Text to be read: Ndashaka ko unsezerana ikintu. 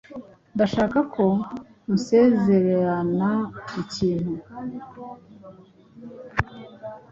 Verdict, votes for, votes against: rejected, 1, 2